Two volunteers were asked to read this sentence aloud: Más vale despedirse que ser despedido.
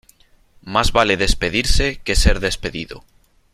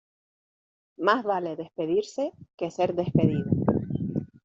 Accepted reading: first